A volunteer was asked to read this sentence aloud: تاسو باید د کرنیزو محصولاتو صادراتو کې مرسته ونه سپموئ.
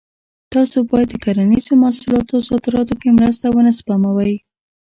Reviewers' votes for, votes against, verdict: 2, 0, accepted